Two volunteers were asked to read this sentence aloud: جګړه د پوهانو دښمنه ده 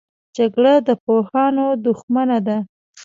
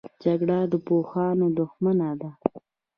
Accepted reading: second